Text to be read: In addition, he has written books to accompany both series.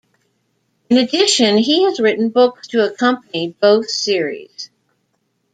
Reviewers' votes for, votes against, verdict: 2, 0, accepted